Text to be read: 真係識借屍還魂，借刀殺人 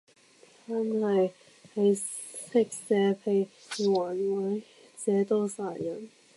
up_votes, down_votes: 0, 2